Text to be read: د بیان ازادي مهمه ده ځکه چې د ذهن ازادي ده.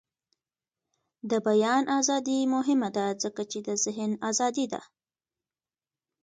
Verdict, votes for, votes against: accepted, 2, 1